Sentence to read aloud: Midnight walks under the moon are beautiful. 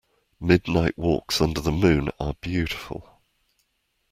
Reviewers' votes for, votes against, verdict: 2, 0, accepted